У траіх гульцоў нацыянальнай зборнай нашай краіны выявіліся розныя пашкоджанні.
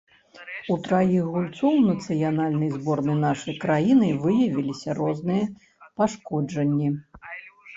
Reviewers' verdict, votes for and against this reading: rejected, 1, 2